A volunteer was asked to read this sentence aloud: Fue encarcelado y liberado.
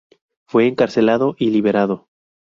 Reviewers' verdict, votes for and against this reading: accepted, 2, 0